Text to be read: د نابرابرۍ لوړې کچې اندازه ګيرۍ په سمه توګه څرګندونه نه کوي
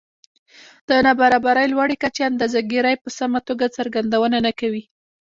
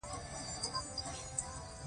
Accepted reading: first